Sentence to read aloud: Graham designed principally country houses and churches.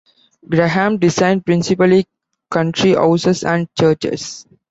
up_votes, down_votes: 0, 2